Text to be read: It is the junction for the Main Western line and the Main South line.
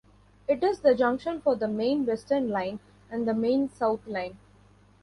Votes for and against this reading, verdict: 2, 0, accepted